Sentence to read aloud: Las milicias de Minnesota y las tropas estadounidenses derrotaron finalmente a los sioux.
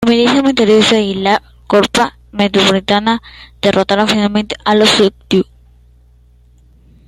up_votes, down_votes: 0, 2